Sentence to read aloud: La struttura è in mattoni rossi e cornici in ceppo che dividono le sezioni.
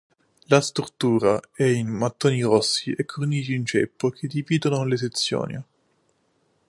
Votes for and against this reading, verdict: 2, 1, accepted